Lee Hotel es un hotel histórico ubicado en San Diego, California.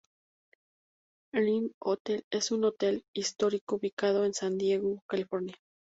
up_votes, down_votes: 0, 2